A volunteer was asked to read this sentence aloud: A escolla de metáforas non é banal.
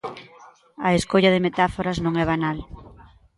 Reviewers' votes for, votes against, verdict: 2, 0, accepted